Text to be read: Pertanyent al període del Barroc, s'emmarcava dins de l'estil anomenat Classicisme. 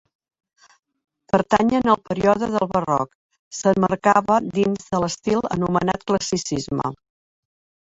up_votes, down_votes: 0, 2